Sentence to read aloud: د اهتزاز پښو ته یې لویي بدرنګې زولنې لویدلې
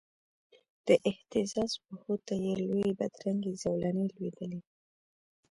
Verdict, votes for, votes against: rejected, 1, 2